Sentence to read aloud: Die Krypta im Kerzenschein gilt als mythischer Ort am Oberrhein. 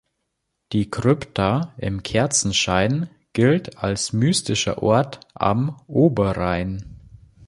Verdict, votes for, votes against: rejected, 1, 2